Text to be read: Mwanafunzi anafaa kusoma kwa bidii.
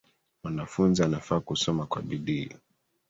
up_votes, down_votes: 2, 1